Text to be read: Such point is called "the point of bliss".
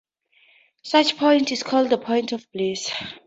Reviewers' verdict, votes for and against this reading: accepted, 4, 0